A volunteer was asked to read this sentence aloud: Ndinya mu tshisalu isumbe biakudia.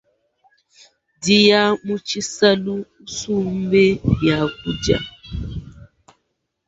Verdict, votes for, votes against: rejected, 0, 3